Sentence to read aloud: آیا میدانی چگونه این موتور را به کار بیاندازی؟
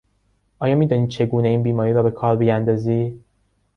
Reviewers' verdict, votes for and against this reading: rejected, 0, 2